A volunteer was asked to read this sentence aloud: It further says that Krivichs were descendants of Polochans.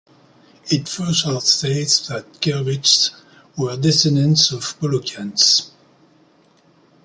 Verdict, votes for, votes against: rejected, 0, 2